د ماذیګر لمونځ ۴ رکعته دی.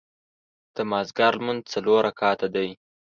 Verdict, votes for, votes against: rejected, 0, 2